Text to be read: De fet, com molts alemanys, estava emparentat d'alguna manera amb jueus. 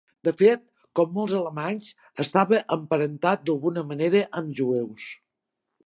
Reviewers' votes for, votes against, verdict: 2, 0, accepted